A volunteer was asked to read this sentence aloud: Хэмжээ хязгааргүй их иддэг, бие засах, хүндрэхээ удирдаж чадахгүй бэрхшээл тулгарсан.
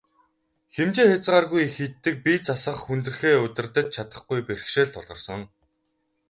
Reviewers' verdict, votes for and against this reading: rejected, 0, 2